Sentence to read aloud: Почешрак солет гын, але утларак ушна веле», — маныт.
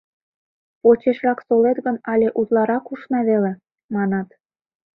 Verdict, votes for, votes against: rejected, 1, 2